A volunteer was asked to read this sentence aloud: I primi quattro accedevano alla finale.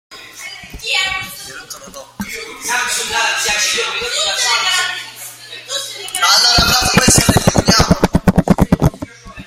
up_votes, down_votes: 0, 2